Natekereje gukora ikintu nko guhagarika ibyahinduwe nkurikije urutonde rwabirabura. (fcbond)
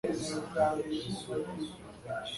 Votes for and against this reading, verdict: 0, 2, rejected